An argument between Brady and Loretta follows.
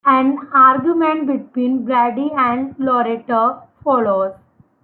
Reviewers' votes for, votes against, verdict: 2, 0, accepted